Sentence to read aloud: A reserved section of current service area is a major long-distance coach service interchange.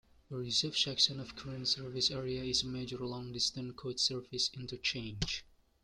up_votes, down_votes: 1, 2